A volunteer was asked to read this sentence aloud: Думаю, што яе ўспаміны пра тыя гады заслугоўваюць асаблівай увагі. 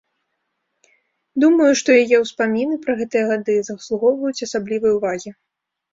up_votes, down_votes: 0, 2